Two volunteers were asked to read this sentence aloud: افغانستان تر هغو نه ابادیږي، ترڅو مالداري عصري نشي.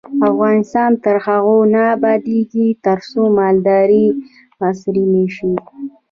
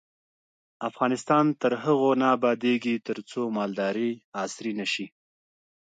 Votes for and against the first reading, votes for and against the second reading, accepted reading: 2, 0, 1, 2, first